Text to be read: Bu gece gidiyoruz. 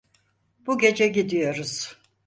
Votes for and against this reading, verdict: 4, 0, accepted